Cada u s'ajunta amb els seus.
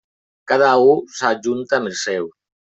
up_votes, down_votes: 0, 2